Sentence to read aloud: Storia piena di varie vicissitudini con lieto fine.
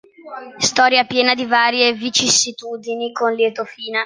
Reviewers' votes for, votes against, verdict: 2, 0, accepted